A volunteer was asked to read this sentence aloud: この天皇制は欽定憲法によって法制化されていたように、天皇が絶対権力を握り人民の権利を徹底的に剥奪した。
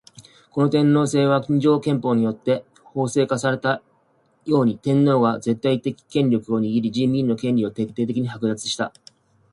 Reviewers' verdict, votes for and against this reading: rejected, 1, 2